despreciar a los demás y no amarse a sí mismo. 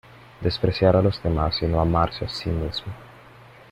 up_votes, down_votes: 2, 0